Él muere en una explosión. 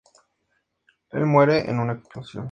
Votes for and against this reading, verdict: 2, 0, accepted